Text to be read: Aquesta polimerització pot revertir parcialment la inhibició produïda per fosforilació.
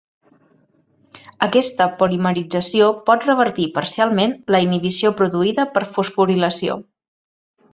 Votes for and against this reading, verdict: 2, 0, accepted